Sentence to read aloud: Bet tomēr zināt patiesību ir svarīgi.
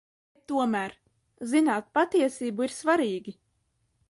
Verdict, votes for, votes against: rejected, 0, 2